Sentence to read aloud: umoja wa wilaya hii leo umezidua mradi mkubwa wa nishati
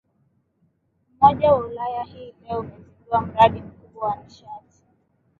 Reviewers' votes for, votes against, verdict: 5, 2, accepted